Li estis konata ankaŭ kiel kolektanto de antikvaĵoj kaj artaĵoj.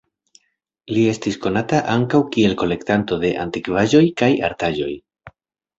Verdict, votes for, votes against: accepted, 2, 1